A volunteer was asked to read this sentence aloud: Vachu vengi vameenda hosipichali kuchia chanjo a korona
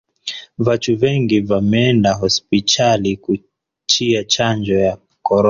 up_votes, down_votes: 1, 2